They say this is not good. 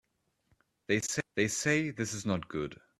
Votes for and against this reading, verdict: 0, 2, rejected